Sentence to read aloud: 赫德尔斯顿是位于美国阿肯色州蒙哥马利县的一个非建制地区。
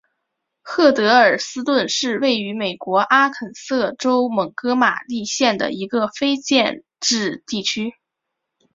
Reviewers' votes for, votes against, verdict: 2, 1, accepted